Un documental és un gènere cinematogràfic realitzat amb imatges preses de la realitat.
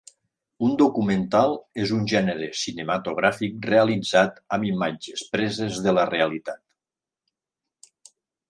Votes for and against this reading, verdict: 3, 0, accepted